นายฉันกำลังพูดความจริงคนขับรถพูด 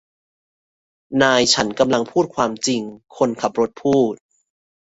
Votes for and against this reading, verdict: 2, 0, accepted